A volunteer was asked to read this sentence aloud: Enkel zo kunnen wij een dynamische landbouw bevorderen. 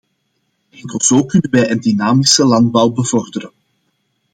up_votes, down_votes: 2, 0